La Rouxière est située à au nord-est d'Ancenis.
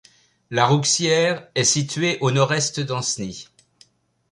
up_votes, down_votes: 0, 2